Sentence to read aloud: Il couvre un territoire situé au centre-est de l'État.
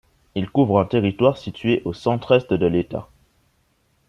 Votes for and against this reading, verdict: 2, 0, accepted